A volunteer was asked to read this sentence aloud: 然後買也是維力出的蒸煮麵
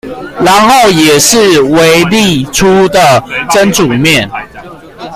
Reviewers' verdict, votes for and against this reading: rejected, 0, 2